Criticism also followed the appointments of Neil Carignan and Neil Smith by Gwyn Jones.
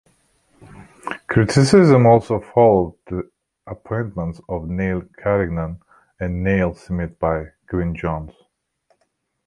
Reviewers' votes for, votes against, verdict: 2, 1, accepted